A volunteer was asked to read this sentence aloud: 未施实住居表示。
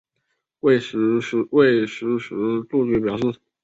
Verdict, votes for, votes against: rejected, 1, 2